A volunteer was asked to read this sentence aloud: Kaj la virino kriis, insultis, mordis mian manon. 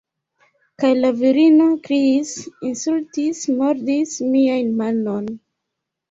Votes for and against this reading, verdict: 0, 2, rejected